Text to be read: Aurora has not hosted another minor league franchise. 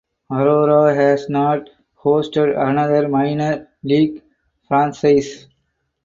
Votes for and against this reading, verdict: 2, 2, rejected